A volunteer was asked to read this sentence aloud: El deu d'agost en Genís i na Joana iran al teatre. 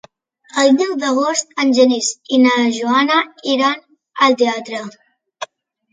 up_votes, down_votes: 3, 0